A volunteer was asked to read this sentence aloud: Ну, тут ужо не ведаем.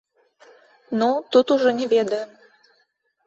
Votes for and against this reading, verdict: 2, 0, accepted